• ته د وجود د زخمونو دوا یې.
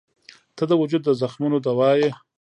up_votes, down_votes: 0, 2